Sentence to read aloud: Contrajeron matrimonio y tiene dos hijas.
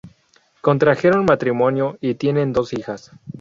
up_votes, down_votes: 2, 2